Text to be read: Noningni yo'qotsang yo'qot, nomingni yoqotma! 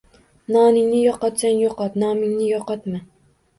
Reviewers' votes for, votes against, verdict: 2, 0, accepted